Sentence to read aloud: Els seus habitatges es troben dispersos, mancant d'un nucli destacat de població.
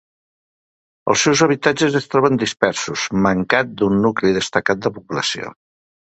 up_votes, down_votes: 2, 0